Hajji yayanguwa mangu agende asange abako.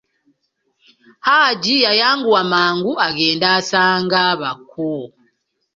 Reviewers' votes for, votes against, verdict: 0, 2, rejected